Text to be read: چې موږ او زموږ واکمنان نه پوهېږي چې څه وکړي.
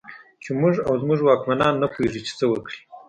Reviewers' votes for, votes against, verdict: 2, 0, accepted